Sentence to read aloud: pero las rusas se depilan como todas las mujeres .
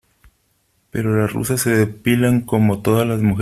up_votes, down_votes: 0, 3